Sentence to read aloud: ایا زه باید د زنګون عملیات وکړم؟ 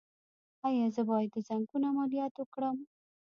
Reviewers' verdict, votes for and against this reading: rejected, 0, 2